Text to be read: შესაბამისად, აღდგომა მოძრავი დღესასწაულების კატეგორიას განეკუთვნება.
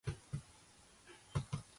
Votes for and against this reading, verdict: 0, 3, rejected